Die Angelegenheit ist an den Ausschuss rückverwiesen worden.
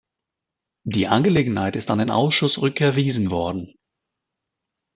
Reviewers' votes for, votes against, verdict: 0, 2, rejected